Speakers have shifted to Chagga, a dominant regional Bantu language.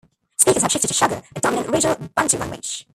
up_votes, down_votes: 1, 2